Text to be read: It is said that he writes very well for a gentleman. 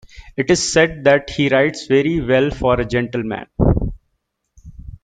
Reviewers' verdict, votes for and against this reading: accepted, 2, 0